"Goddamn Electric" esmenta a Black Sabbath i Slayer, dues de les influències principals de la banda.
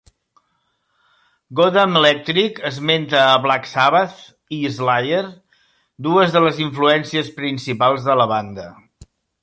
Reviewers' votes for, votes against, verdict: 2, 0, accepted